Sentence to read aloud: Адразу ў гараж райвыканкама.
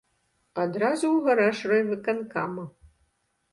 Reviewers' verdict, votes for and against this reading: accepted, 2, 0